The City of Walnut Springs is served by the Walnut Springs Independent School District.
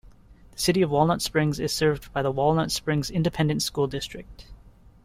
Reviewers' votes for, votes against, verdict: 2, 0, accepted